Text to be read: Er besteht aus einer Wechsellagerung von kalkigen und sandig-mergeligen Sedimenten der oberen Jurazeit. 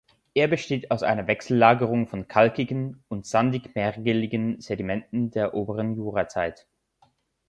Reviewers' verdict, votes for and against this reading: accepted, 2, 0